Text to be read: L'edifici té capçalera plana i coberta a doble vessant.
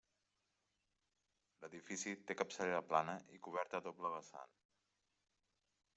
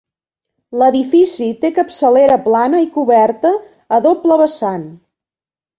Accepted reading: second